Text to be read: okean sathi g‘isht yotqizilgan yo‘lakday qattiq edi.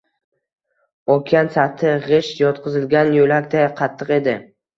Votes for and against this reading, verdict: 1, 2, rejected